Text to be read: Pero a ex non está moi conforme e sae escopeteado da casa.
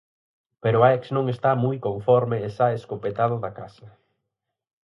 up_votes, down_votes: 2, 4